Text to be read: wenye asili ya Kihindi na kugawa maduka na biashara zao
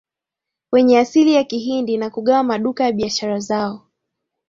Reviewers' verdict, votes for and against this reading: accepted, 2, 1